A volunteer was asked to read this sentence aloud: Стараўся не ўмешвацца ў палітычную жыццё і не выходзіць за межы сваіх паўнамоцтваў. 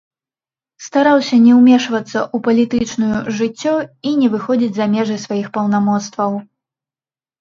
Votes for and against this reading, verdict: 1, 3, rejected